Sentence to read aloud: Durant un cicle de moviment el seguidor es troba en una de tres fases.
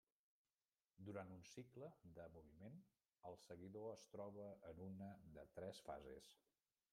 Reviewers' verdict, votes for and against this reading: rejected, 0, 2